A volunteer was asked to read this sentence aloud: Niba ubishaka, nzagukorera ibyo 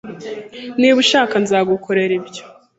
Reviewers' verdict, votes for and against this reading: rejected, 0, 2